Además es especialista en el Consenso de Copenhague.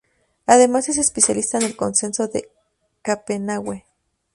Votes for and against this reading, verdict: 0, 4, rejected